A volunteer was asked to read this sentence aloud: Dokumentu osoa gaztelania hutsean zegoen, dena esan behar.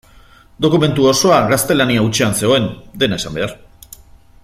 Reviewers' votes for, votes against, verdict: 2, 0, accepted